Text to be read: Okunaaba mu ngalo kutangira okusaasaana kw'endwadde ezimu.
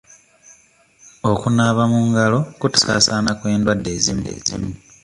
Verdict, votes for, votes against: rejected, 1, 2